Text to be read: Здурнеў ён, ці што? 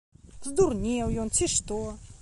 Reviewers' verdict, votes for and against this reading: accepted, 2, 0